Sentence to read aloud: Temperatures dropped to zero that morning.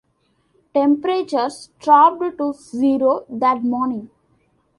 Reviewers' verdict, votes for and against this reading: rejected, 1, 2